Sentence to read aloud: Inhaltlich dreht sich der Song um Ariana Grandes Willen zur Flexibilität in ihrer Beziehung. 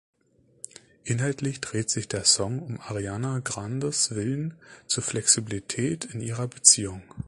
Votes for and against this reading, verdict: 2, 0, accepted